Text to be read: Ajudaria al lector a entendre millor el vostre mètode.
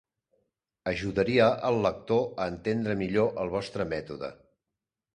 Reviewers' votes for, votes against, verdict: 2, 0, accepted